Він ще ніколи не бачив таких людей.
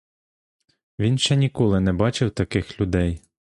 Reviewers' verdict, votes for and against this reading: accepted, 2, 0